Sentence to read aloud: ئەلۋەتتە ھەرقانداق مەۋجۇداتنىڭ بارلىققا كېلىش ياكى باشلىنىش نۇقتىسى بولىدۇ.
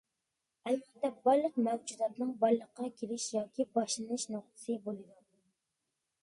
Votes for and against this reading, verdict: 0, 2, rejected